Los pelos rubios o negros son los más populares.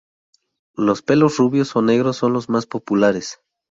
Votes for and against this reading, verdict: 2, 0, accepted